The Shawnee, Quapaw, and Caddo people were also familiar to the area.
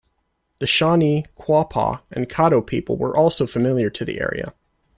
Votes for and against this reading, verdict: 2, 0, accepted